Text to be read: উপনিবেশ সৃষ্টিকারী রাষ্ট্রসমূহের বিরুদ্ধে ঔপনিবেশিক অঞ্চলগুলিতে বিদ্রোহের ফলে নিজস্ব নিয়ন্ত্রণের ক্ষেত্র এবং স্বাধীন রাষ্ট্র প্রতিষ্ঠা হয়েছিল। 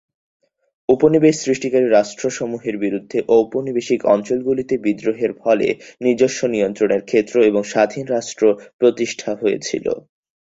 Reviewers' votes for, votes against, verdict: 2, 0, accepted